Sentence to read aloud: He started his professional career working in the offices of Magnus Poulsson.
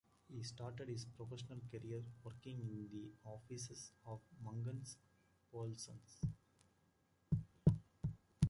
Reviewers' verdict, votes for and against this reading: rejected, 0, 2